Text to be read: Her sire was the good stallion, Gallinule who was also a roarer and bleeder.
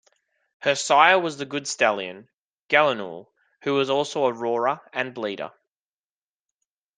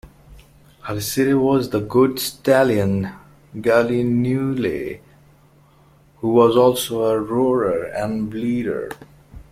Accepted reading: first